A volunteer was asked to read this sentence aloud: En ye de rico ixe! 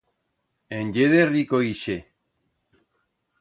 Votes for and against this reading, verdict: 2, 0, accepted